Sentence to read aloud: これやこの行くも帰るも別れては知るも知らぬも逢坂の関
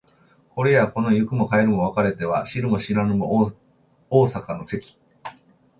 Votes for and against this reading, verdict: 2, 0, accepted